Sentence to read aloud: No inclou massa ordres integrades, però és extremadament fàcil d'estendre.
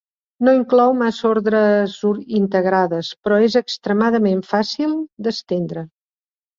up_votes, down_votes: 1, 2